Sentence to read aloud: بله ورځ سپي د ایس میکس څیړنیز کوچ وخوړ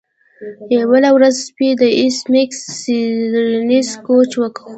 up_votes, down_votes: 0, 2